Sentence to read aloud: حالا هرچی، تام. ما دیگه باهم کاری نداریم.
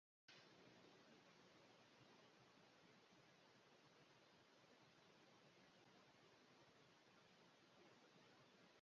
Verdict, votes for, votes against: rejected, 1, 2